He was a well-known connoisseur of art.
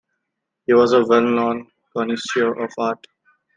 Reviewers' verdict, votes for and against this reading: accepted, 2, 0